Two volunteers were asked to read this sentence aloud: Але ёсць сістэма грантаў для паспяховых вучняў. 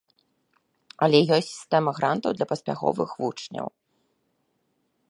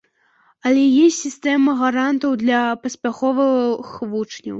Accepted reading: first